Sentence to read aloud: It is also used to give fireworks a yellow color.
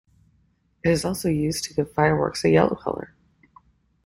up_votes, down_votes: 2, 0